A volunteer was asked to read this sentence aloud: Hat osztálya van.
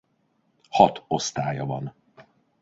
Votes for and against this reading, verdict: 2, 1, accepted